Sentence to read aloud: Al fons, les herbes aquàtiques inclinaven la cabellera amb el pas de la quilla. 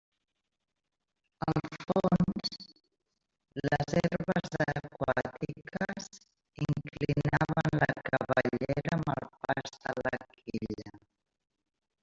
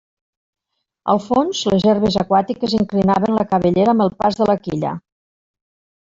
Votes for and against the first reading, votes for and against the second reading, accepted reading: 0, 2, 3, 0, second